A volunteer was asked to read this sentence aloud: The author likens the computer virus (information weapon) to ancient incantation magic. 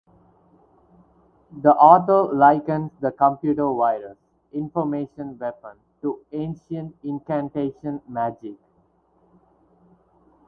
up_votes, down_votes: 4, 0